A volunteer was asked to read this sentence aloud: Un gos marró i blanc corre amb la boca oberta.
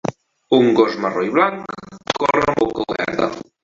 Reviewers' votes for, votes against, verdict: 0, 2, rejected